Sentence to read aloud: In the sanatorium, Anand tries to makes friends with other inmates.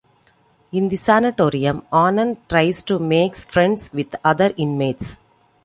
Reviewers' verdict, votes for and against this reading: accepted, 2, 0